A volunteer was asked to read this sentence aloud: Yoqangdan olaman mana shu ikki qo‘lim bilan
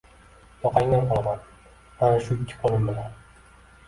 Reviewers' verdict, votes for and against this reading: rejected, 1, 2